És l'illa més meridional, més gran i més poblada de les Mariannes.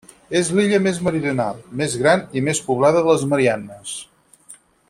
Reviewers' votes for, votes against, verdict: 6, 0, accepted